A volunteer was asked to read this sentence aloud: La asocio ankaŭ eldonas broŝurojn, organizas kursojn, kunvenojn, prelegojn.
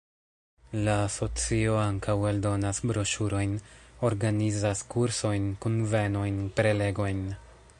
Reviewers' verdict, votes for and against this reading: rejected, 1, 2